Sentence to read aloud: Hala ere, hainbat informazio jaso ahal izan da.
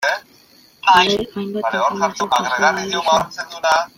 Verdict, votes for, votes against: rejected, 0, 2